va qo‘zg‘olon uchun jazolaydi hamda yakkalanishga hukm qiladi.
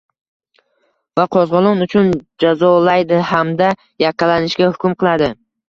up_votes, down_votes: 0, 2